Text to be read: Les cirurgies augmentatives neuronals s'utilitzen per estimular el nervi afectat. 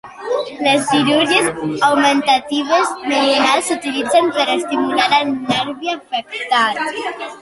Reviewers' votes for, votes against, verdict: 0, 2, rejected